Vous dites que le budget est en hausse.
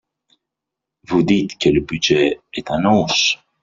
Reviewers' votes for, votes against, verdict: 0, 2, rejected